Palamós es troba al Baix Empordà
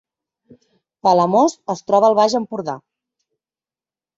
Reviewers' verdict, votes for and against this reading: accepted, 2, 0